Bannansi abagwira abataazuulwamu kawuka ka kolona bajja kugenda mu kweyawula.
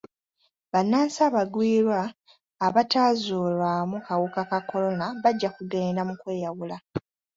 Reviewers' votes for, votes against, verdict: 2, 1, accepted